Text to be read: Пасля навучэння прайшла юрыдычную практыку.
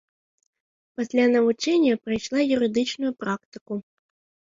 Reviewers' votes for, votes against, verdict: 2, 0, accepted